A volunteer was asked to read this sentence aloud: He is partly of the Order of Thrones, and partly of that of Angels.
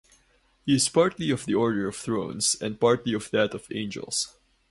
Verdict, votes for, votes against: rejected, 2, 4